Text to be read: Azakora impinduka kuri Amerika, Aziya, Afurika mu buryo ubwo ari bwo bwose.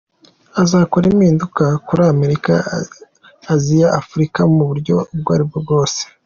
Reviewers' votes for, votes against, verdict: 2, 0, accepted